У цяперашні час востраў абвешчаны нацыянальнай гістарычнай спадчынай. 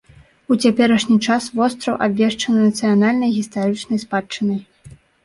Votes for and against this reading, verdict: 2, 0, accepted